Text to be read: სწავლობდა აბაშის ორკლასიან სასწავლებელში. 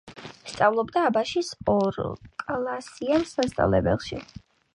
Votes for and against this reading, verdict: 6, 1, accepted